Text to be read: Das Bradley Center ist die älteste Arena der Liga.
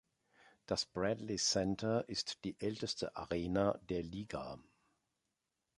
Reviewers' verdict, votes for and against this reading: accepted, 3, 1